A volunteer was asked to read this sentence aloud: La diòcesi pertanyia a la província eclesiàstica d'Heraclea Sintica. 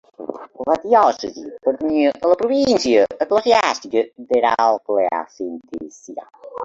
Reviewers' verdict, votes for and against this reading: rejected, 1, 2